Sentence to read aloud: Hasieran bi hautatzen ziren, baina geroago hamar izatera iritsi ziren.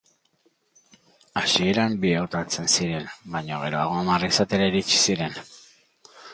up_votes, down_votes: 2, 0